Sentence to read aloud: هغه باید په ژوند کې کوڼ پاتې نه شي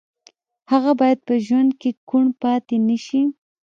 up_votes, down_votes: 1, 2